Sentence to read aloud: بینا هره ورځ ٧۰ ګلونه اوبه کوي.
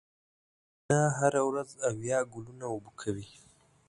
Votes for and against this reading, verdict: 0, 2, rejected